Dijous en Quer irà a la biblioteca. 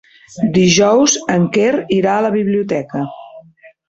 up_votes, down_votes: 3, 0